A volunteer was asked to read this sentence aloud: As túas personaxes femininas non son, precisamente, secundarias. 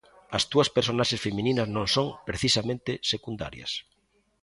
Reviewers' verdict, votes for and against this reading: accepted, 2, 0